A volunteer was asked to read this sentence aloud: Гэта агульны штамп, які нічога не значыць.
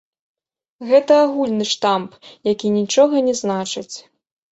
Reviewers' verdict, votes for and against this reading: rejected, 0, 2